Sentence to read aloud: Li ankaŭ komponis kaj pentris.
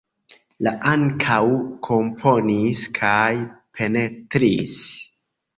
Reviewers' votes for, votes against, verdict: 2, 1, accepted